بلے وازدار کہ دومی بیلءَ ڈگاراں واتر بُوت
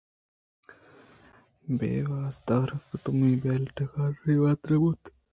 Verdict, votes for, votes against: rejected, 1, 2